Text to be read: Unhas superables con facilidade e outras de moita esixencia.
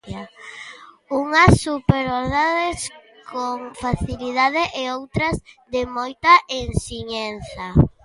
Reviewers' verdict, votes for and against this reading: rejected, 0, 2